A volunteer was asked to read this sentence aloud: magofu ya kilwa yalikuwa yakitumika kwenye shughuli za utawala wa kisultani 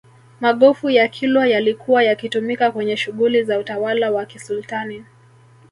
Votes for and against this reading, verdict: 3, 0, accepted